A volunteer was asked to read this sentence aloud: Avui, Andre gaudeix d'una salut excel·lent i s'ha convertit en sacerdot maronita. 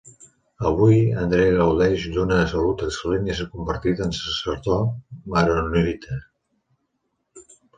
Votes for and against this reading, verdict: 0, 2, rejected